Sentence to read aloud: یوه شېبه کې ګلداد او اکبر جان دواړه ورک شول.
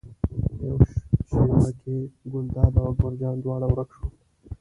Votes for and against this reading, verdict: 1, 2, rejected